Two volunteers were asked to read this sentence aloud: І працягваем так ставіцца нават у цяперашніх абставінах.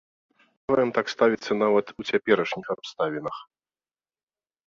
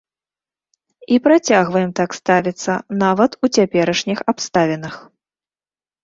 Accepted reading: second